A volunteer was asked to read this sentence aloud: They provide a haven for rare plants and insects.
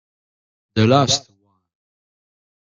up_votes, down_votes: 0, 2